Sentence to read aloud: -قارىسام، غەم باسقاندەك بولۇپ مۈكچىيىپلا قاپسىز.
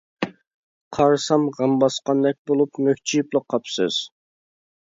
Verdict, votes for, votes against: accepted, 2, 0